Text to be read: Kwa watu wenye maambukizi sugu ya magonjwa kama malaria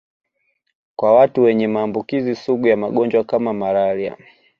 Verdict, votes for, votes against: accepted, 2, 0